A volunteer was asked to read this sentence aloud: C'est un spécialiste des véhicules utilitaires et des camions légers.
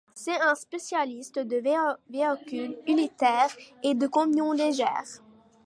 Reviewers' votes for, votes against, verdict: 0, 2, rejected